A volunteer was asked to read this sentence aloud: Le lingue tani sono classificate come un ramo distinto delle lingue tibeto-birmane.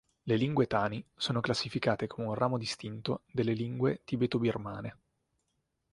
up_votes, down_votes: 2, 0